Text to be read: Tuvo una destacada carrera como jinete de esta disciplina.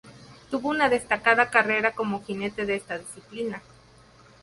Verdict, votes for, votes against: accepted, 2, 0